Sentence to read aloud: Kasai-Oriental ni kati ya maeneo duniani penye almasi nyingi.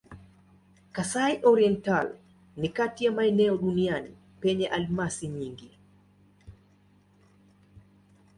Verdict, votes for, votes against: accepted, 2, 0